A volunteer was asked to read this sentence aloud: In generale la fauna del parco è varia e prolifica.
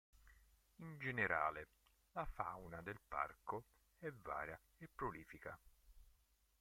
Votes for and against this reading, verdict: 1, 3, rejected